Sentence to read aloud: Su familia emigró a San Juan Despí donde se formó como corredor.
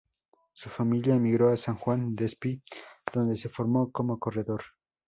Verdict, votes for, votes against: accepted, 2, 0